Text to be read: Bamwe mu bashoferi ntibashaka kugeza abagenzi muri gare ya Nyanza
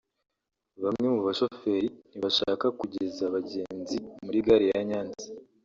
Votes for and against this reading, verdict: 2, 0, accepted